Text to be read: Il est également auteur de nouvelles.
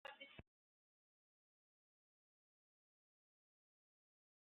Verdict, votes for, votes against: rejected, 0, 2